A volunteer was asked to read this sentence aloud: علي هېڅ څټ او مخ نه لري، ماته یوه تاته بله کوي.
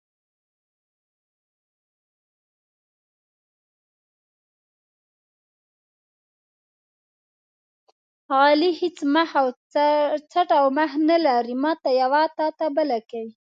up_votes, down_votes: 0, 2